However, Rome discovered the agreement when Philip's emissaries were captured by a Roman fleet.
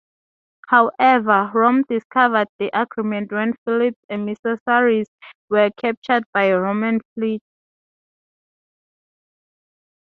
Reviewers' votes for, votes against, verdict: 2, 2, rejected